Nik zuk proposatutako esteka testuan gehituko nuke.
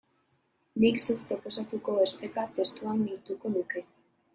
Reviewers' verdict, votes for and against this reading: rejected, 0, 2